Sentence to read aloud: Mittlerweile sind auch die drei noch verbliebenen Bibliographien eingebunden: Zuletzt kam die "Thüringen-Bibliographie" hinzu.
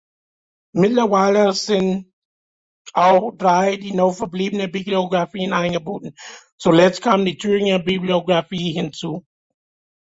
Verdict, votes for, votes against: rejected, 0, 2